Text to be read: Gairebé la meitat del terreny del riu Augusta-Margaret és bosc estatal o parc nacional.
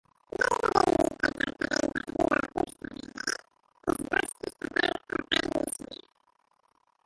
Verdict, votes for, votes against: rejected, 0, 2